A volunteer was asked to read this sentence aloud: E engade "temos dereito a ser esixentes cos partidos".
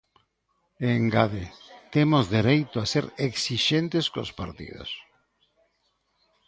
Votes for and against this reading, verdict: 2, 0, accepted